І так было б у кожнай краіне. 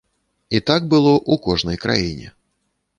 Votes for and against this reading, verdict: 0, 2, rejected